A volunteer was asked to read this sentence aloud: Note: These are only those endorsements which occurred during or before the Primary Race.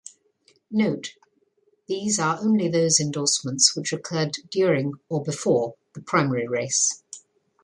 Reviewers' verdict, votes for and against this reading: accepted, 2, 0